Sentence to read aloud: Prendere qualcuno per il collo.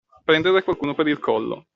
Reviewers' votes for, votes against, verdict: 2, 0, accepted